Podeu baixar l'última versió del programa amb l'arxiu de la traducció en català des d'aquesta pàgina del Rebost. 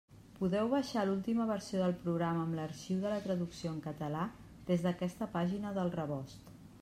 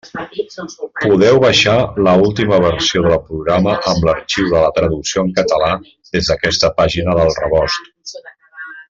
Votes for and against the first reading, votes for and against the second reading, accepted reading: 3, 0, 0, 2, first